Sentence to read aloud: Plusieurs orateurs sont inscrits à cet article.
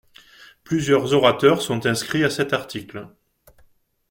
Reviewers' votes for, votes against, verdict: 2, 0, accepted